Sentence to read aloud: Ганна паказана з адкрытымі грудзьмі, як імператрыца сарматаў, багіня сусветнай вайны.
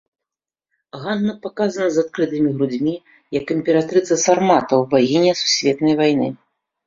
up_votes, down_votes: 2, 0